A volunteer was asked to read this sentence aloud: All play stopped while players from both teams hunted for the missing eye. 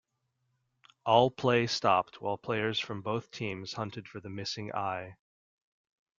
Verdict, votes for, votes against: accepted, 2, 0